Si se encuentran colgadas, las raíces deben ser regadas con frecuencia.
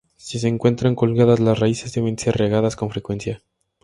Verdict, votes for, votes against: rejected, 2, 2